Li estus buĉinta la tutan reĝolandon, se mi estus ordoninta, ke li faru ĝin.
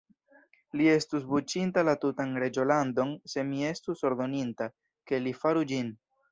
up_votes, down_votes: 0, 2